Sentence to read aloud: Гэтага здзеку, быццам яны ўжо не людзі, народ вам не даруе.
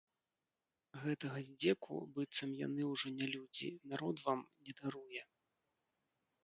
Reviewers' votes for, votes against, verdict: 0, 2, rejected